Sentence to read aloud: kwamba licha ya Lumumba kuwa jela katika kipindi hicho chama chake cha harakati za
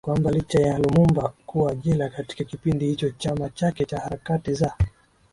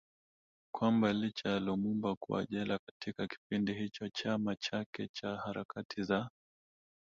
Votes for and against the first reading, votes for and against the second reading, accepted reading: 6, 2, 1, 2, first